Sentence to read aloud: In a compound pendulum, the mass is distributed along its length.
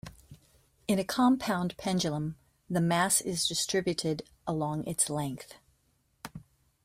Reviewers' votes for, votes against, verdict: 2, 0, accepted